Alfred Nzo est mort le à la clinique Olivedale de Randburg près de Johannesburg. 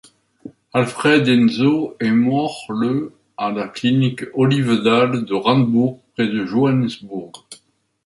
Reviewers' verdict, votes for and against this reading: accepted, 2, 0